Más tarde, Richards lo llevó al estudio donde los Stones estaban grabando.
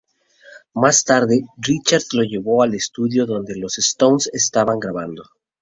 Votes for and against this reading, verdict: 2, 0, accepted